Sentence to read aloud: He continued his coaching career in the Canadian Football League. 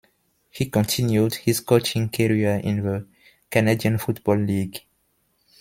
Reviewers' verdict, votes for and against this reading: rejected, 1, 2